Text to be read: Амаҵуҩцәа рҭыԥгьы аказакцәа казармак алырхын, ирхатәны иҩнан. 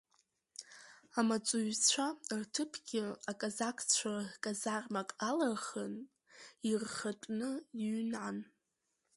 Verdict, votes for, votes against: rejected, 1, 2